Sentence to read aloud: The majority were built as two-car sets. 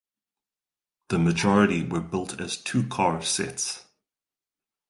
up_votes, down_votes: 2, 0